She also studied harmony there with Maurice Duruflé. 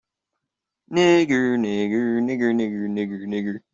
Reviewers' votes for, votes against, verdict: 0, 2, rejected